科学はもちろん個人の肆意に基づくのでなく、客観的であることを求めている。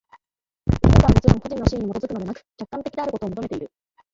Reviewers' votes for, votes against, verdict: 3, 9, rejected